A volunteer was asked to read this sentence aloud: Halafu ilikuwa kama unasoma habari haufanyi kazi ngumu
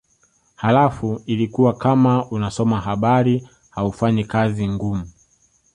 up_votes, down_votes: 2, 0